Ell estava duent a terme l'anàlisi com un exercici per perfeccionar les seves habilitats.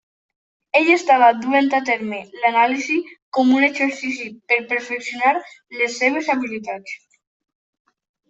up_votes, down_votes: 2, 0